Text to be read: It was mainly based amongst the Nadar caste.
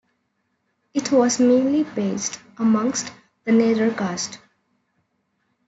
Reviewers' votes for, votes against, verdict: 2, 0, accepted